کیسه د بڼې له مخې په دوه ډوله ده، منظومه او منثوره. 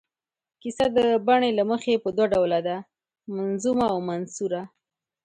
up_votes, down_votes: 2, 0